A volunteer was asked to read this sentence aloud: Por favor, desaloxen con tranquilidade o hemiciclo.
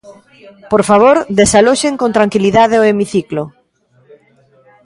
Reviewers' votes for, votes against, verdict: 1, 2, rejected